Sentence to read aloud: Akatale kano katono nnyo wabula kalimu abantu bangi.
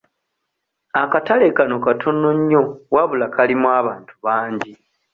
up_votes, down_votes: 2, 0